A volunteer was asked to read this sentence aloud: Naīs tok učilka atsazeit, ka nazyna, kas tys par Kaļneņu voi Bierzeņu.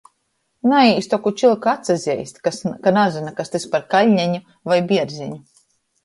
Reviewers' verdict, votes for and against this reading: rejected, 1, 2